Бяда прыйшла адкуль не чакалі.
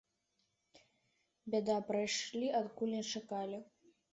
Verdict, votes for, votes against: accepted, 2, 1